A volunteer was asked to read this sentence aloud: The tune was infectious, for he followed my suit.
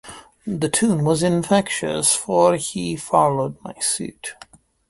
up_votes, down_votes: 2, 0